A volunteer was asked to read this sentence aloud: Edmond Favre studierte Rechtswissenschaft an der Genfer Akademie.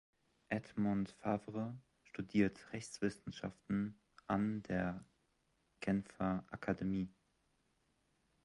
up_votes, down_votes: 1, 2